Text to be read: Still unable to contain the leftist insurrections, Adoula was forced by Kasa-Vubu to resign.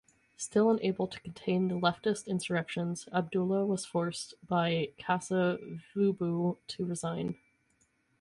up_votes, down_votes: 0, 4